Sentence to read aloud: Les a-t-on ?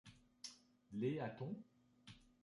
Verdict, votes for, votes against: rejected, 1, 2